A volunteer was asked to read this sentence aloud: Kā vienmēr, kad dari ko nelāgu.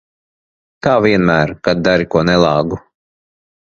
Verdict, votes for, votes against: accepted, 2, 0